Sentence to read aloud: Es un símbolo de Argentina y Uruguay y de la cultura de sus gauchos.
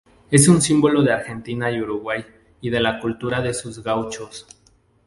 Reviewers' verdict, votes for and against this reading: accepted, 2, 0